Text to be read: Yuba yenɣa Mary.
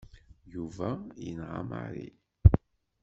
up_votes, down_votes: 2, 0